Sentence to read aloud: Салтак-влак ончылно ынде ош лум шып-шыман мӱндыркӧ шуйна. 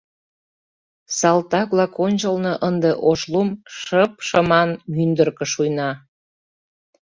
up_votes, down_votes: 2, 0